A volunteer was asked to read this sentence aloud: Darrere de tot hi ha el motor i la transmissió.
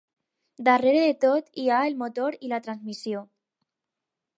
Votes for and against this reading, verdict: 4, 0, accepted